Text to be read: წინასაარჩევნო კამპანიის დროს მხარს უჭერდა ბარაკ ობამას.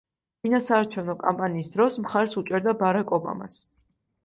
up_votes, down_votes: 2, 0